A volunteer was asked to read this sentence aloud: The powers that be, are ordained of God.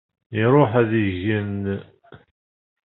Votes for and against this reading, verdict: 0, 2, rejected